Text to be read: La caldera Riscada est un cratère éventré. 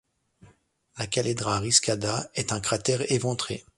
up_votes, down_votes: 0, 2